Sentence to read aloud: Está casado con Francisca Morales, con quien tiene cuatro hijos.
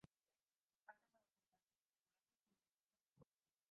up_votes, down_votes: 0, 2